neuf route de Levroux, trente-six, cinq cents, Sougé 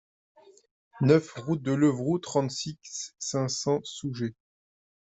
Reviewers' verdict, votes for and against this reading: rejected, 1, 2